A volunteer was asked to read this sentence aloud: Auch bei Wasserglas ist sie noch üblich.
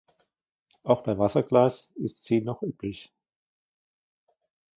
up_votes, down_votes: 2, 1